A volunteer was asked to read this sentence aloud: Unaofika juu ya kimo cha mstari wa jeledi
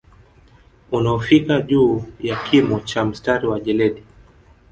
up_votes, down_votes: 2, 0